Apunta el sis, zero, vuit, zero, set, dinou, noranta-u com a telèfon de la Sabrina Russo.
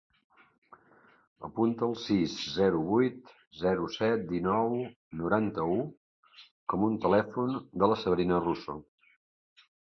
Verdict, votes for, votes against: rejected, 0, 2